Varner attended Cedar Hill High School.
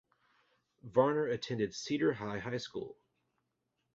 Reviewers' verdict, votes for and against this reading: rejected, 0, 2